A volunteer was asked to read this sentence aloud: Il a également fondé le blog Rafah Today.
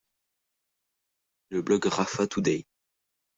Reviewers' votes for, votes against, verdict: 1, 2, rejected